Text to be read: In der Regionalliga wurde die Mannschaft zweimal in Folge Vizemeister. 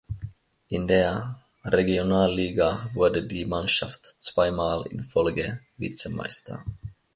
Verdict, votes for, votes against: accepted, 2, 0